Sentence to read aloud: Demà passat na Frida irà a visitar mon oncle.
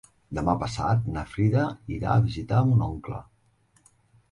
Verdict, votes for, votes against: accepted, 3, 1